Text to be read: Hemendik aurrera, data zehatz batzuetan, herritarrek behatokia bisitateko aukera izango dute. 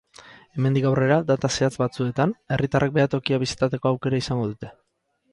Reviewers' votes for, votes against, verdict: 4, 2, accepted